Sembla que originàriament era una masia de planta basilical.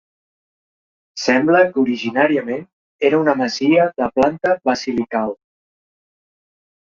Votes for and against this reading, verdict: 4, 0, accepted